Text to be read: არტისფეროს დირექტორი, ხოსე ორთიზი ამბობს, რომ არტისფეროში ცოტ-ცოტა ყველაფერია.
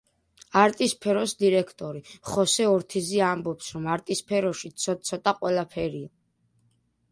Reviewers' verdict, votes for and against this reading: accepted, 2, 0